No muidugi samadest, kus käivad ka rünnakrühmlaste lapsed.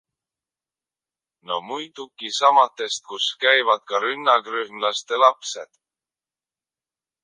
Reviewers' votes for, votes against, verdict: 1, 2, rejected